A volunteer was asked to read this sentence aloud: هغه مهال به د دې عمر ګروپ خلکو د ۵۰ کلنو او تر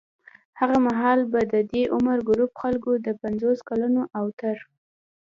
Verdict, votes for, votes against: rejected, 0, 2